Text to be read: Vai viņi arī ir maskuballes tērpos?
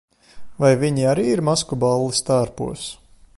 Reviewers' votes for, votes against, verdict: 2, 0, accepted